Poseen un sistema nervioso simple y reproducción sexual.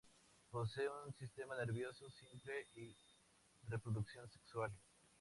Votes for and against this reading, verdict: 2, 2, rejected